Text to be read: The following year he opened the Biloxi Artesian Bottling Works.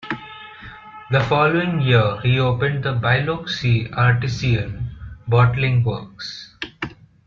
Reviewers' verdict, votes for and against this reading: rejected, 0, 2